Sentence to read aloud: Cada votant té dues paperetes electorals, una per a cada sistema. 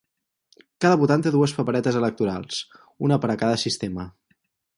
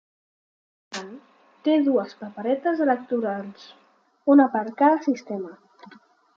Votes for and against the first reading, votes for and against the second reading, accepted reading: 4, 0, 1, 2, first